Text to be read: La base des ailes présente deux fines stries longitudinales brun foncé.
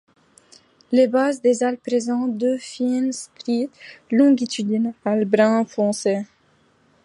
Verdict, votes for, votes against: rejected, 1, 2